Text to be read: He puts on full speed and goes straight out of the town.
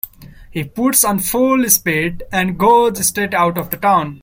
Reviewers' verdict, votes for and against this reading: accepted, 2, 0